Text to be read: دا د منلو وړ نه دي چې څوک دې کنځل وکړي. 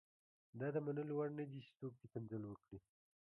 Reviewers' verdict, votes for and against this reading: rejected, 1, 2